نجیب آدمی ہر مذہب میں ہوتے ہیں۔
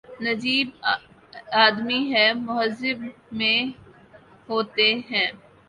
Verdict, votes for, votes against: rejected, 0, 2